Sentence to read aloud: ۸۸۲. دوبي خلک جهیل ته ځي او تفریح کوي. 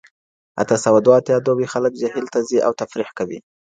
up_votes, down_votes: 0, 2